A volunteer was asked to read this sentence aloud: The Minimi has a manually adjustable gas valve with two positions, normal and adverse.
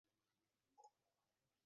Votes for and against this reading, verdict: 0, 2, rejected